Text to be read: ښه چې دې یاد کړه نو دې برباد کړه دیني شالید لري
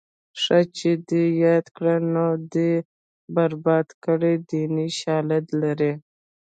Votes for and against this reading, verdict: 0, 2, rejected